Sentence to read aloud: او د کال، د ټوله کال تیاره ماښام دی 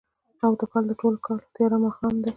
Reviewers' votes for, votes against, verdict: 2, 0, accepted